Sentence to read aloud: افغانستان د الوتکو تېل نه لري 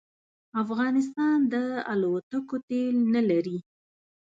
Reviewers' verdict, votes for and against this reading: accepted, 2, 0